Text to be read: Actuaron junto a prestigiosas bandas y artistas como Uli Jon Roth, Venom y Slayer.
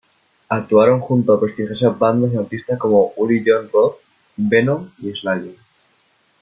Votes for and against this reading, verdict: 1, 2, rejected